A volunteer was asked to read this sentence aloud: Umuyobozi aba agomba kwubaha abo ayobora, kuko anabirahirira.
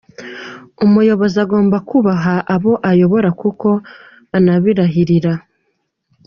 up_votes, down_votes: 1, 2